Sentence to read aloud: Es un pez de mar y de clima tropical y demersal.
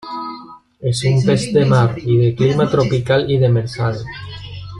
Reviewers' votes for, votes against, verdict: 1, 3, rejected